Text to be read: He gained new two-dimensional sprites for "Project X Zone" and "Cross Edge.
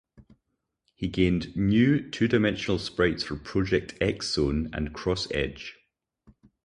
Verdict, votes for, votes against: accepted, 4, 0